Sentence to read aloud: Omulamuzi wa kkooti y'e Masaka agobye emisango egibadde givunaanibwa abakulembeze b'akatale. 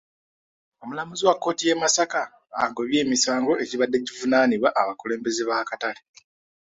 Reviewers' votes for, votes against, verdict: 2, 0, accepted